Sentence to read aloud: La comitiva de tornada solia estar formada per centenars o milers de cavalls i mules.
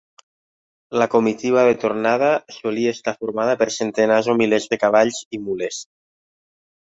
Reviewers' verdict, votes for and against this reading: accepted, 3, 0